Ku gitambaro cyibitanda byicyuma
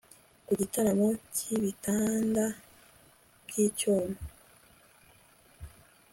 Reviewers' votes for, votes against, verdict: 2, 0, accepted